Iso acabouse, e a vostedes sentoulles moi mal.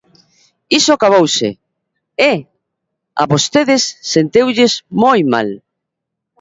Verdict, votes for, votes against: rejected, 0, 2